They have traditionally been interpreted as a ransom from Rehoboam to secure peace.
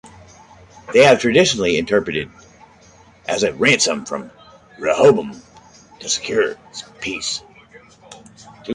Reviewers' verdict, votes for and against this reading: rejected, 1, 2